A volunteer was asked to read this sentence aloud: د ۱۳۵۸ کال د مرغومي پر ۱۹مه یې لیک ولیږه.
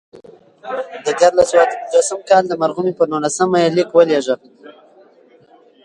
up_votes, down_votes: 0, 2